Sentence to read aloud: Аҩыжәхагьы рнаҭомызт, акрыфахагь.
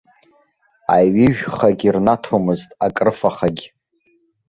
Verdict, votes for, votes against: accepted, 2, 0